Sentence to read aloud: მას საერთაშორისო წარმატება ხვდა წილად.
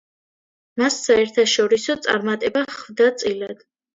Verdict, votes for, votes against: accepted, 2, 0